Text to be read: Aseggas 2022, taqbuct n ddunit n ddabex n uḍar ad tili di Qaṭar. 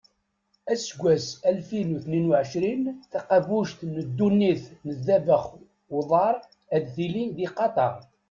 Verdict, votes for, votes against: rejected, 0, 2